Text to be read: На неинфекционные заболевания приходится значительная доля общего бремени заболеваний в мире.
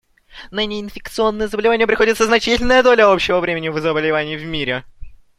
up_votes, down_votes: 0, 2